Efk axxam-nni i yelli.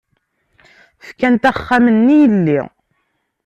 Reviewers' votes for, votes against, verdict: 1, 2, rejected